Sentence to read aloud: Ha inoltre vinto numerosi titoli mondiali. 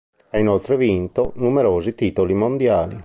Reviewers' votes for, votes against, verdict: 3, 0, accepted